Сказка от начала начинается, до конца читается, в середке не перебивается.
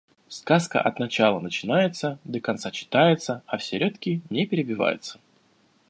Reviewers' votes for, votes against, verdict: 1, 2, rejected